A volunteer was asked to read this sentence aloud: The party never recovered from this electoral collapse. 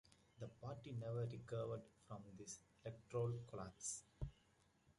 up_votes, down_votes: 2, 1